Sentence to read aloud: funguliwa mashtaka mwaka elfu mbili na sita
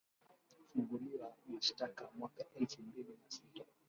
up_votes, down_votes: 2, 1